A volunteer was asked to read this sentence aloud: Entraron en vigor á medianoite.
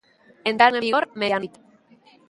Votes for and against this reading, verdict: 1, 3, rejected